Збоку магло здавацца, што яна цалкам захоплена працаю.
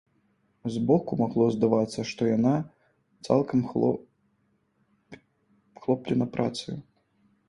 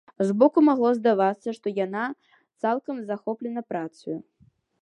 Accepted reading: second